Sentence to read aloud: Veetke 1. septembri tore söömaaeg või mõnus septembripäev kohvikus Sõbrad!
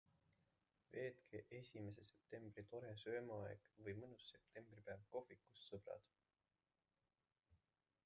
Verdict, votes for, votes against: rejected, 0, 2